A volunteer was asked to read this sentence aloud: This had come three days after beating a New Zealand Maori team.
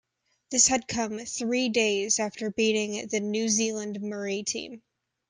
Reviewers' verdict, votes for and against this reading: rejected, 1, 2